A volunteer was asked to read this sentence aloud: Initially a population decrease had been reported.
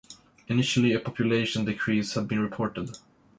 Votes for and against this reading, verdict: 2, 0, accepted